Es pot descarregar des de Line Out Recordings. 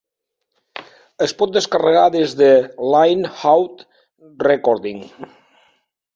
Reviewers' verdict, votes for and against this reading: accepted, 7, 1